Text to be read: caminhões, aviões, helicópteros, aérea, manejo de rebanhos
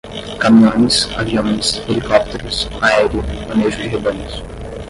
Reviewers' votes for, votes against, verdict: 5, 10, rejected